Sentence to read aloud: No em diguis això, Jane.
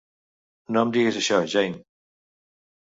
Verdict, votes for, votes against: accepted, 2, 0